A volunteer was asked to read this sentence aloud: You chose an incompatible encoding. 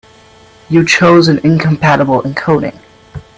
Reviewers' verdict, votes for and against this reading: accepted, 2, 0